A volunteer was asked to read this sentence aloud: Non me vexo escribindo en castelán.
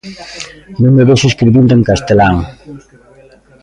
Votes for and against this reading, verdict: 1, 2, rejected